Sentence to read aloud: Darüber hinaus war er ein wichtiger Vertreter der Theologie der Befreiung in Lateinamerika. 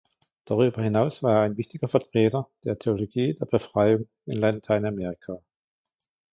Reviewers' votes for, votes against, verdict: 2, 1, accepted